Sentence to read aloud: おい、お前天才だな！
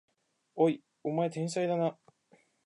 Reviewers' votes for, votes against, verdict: 3, 0, accepted